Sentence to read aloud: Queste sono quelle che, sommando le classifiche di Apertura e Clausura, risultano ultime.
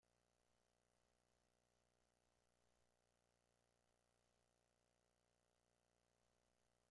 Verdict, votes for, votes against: rejected, 0, 2